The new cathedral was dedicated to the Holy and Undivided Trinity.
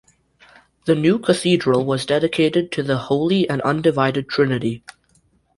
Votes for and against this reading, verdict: 2, 0, accepted